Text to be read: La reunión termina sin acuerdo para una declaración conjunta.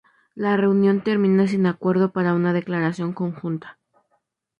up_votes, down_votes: 0, 2